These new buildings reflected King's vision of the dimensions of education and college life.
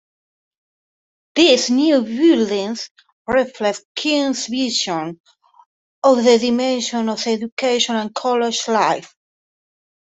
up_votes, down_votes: 1, 2